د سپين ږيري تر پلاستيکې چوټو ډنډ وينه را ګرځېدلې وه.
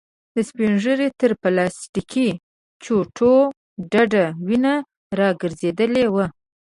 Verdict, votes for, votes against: rejected, 0, 2